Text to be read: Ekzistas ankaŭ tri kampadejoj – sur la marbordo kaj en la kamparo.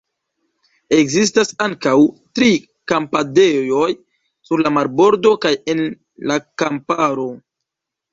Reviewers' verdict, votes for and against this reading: accepted, 2, 0